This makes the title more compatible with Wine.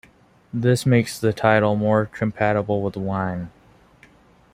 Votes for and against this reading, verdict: 2, 1, accepted